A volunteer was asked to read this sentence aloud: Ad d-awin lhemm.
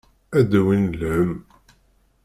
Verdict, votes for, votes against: accepted, 2, 0